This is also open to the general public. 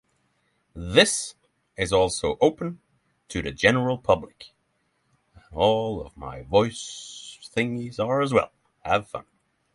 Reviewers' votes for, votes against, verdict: 3, 3, rejected